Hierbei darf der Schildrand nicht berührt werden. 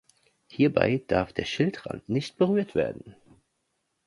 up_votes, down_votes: 2, 0